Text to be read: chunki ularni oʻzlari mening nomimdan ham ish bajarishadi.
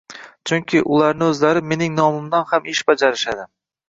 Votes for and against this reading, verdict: 0, 2, rejected